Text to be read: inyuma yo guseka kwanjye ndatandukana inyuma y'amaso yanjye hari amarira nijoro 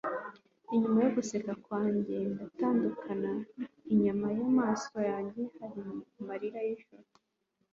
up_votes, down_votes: 2, 1